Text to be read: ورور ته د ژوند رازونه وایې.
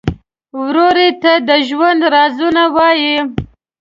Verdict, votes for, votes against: rejected, 1, 2